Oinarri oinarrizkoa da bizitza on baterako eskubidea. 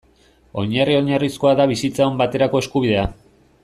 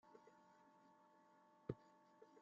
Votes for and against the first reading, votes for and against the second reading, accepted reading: 2, 0, 1, 2, first